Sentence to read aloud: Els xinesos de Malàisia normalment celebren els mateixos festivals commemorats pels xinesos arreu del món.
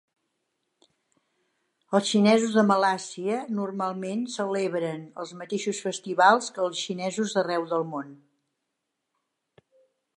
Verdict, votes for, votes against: rejected, 1, 2